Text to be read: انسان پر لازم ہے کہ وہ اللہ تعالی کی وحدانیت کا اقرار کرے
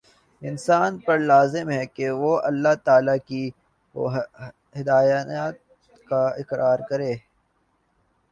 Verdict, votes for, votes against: rejected, 2, 5